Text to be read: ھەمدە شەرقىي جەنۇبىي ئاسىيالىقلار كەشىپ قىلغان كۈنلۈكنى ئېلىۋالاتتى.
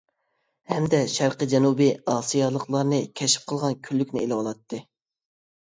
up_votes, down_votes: 0, 2